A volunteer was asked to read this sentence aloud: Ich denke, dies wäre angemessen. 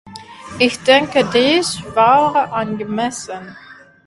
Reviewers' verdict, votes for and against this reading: rejected, 1, 2